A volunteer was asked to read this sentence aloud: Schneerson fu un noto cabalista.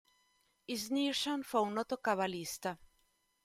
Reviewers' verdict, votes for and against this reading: rejected, 0, 2